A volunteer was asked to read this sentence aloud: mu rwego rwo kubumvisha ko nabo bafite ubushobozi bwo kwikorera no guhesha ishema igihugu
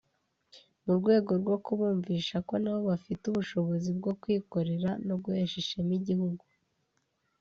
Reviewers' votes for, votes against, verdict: 3, 0, accepted